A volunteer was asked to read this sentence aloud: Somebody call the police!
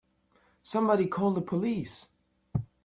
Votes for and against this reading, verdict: 2, 0, accepted